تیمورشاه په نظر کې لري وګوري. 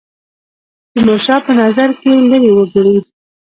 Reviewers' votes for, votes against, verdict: 1, 2, rejected